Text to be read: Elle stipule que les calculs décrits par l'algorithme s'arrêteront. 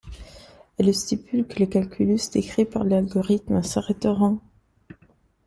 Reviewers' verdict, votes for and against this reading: rejected, 0, 2